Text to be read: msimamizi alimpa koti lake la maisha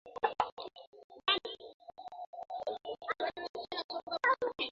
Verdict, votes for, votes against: rejected, 0, 2